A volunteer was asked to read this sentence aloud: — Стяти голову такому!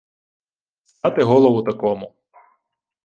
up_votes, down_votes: 1, 2